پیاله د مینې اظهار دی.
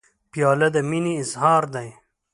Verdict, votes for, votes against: accepted, 2, 0